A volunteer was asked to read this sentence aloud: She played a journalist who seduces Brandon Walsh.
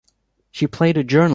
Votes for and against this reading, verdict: 0, 2, rejected